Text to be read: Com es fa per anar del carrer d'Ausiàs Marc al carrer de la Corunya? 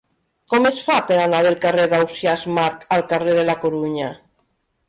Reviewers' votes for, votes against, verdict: 1, 2, rejected